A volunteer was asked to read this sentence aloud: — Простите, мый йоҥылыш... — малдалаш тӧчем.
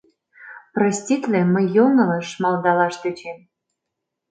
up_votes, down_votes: 1, 2